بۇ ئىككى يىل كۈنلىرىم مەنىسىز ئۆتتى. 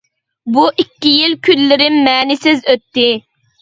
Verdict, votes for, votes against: accepted, 2, 0